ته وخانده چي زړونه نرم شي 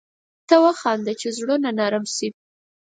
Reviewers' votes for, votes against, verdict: 4, 0, accepted